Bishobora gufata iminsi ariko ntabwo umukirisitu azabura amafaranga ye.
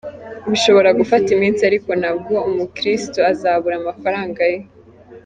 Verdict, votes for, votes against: accepted, 2, 1